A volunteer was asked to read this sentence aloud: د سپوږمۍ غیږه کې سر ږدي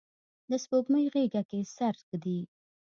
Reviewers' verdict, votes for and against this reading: accepted, 2, 0